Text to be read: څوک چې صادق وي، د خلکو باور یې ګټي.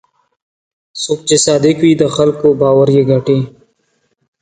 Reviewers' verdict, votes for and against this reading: accepted, 2, 0